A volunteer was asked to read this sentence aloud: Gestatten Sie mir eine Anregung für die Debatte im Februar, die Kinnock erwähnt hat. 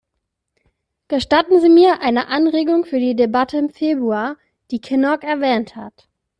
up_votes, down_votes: 2, 0